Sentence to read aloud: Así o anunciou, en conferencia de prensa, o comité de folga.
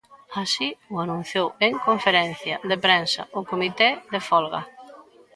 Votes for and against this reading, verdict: 2, 0, accepted